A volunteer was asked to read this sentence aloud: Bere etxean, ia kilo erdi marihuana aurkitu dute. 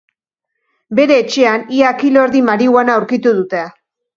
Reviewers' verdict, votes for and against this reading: accepted, 3, 0